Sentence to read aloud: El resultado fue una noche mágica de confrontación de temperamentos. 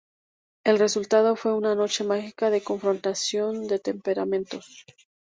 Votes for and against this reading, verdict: 0, 2, rejected